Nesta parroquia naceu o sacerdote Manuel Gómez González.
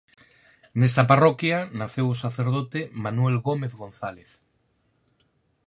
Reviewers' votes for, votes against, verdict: 4, 0, accepted